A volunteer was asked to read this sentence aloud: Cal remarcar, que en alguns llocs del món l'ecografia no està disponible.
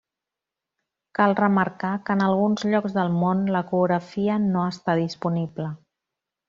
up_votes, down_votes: 2, 0